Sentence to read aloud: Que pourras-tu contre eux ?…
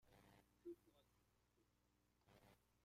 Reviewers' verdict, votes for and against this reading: rejected, 0, 2